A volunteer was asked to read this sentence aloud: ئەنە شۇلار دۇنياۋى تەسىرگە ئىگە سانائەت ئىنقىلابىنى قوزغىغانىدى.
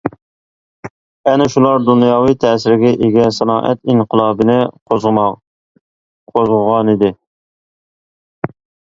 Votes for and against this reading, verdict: 0, 2, rejected